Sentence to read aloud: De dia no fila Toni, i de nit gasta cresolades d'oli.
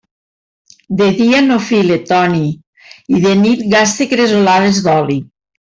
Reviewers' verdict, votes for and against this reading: accepted, 2, 0